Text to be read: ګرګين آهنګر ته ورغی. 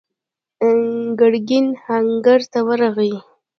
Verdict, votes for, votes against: accepted, 2, 0